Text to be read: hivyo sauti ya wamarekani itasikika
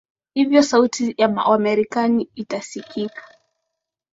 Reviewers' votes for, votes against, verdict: 2, 0, accepted